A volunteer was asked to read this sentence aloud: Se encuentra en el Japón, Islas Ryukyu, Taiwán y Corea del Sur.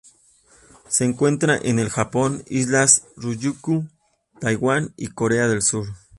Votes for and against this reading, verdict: 2, 0, accepted